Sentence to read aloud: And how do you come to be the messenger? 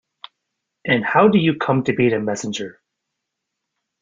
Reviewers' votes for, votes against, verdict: 2, 0, accepted